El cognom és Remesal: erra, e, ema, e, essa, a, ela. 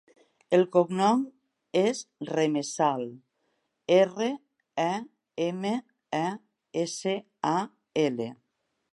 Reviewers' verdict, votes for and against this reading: rejected, 0, 2